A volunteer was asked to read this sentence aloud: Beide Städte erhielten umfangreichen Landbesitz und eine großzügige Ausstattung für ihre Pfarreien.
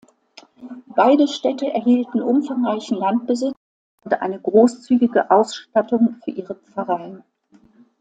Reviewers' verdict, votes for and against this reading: accepted, 2, 0